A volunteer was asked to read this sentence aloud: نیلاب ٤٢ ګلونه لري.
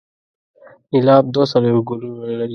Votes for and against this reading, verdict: 0, 2, rejected